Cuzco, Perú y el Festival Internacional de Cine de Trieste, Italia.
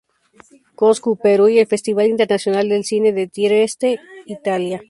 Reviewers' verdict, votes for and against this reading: accepted, 2, 0